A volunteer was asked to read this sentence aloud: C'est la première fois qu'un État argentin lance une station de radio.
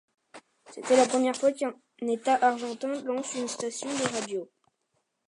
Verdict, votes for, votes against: rejected, 1, 2